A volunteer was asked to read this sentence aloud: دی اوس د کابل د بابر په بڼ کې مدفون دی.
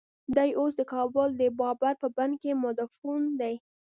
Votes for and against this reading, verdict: 0, 2, rejected